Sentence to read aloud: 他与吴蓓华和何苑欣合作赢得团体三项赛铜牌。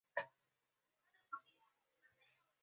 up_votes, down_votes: 0, 4